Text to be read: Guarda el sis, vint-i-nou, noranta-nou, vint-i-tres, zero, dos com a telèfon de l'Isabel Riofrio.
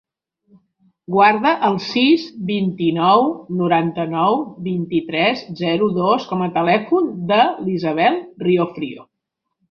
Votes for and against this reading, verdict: 5, 0, accepted